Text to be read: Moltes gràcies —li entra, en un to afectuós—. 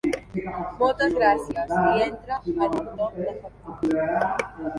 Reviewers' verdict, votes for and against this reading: rejected, 0, 2